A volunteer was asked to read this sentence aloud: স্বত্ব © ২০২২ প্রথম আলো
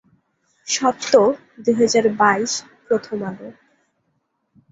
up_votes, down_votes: 0, 2